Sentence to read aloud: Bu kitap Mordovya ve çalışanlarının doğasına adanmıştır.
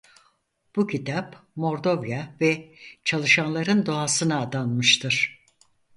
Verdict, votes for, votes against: rejected, 0, 4